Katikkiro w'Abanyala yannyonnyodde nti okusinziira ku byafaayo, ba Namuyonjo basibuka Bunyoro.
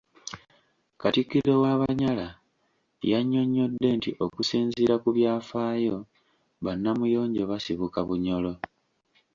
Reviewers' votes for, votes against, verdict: 2, 0, accepted